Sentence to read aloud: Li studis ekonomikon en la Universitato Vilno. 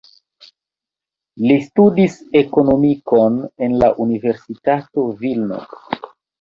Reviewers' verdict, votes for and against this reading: rejected, 1, 2